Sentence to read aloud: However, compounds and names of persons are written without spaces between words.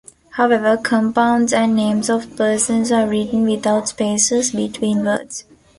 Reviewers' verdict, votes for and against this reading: accepted, 2, 0